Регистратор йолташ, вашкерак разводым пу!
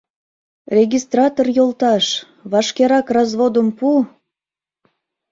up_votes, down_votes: 2, 0